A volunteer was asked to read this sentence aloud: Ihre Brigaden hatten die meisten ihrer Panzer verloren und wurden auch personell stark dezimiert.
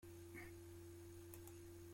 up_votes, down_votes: 0, 2